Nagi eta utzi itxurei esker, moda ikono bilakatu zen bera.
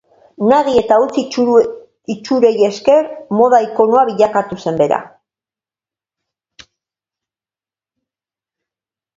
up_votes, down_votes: 1, 2